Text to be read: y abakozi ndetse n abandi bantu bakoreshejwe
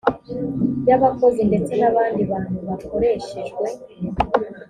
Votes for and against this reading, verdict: 2, 0, accepted